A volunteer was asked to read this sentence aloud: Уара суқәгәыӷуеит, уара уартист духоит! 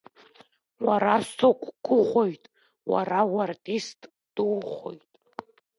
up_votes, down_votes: 1, 2